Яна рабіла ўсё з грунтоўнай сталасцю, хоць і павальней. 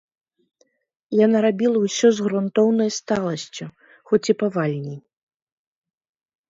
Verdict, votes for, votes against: rejected, 1, 2